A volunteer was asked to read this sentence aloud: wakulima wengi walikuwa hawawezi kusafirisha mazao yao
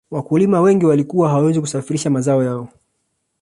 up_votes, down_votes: 3, 0